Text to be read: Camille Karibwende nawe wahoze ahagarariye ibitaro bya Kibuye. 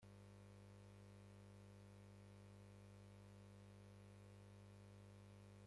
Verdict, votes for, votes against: rejected, 0, 2